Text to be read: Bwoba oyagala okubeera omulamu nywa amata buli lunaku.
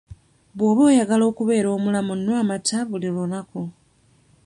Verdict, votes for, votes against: rejected, 0, 2